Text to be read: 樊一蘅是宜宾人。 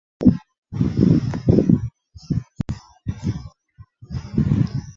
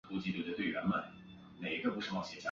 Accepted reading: second